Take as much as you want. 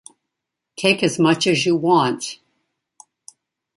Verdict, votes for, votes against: accepted, 2, 0